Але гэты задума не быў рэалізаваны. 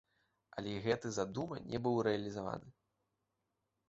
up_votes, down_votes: 2, 1